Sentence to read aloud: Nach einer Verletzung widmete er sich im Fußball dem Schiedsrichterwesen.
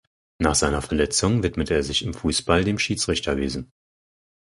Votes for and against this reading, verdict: 2, 4, rejected